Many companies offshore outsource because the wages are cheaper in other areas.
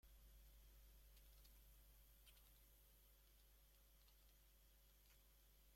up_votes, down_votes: 1, 2